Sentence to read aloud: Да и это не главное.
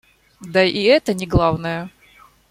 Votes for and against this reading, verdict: 2, 1, accepted